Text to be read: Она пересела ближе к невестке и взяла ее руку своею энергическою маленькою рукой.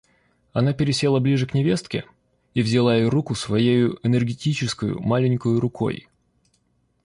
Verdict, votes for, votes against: rejected, 0, 2